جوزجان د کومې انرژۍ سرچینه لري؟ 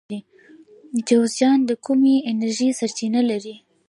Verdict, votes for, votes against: rejected, 1, 2